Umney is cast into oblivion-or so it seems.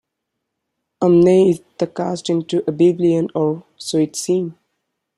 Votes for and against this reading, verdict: 1, 2, rejected